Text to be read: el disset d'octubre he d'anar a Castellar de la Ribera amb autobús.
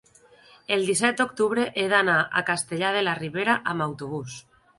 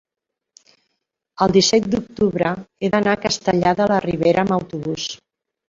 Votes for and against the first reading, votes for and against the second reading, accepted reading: 4, 0, 0, 2, first